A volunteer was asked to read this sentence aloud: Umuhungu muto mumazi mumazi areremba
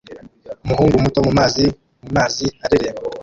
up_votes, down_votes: 2, 0